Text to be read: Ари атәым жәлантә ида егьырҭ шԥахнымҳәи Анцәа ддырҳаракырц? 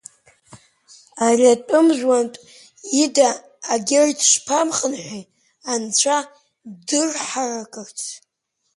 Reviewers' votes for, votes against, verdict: 0, 2, rejected